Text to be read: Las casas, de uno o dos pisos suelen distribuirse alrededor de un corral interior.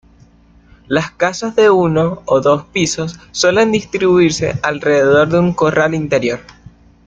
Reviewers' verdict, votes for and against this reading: accepted, 2, 0